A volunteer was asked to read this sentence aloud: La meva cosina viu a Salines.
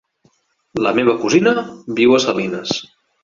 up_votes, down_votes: 3, 0